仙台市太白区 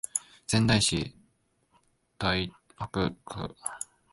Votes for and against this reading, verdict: 3, 2, accepted